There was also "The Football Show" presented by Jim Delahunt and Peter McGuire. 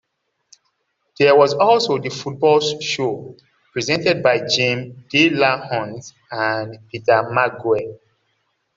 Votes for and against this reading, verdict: 0, 2, rejected